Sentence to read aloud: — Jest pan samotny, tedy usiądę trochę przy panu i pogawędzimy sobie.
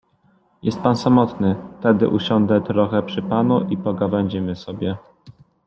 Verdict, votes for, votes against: accepted, 2, 0